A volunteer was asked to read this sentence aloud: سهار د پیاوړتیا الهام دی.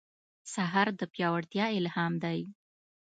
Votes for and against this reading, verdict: 2, 0, accepted